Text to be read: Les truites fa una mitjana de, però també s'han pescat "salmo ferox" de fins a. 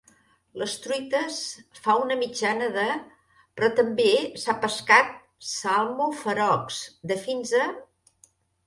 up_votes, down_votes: 0, 2